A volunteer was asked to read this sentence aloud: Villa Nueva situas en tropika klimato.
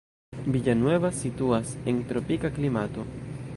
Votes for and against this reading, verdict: 1, 2, rejected